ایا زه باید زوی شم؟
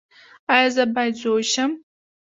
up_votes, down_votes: 2, 0